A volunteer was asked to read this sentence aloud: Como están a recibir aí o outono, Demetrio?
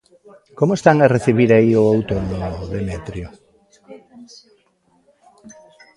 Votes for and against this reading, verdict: 0, 2, rejected